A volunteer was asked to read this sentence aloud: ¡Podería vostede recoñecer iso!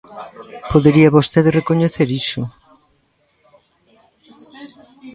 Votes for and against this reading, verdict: 1, 2, rejected